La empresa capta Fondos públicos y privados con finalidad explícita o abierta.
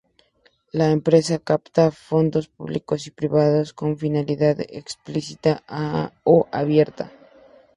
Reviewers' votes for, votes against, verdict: 2, 2, rejected